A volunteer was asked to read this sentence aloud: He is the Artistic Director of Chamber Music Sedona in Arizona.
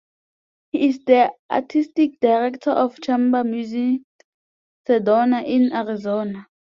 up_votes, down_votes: 2, 0